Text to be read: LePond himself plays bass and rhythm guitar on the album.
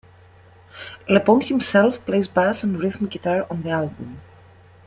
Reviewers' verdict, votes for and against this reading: rejected, 0, 2